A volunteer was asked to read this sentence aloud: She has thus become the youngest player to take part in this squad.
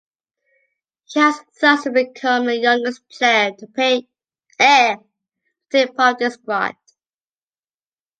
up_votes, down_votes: 0, 2